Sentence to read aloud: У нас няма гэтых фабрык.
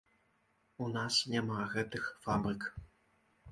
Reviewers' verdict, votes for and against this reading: rejected, 0, 2